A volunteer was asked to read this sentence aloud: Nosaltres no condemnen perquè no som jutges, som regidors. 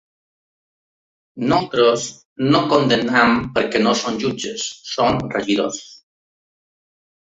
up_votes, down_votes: 1, 2